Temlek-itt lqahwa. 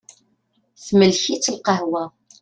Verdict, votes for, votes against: accepted, 2, 0